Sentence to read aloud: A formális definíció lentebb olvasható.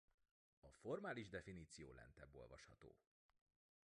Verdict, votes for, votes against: rejected, 0, 2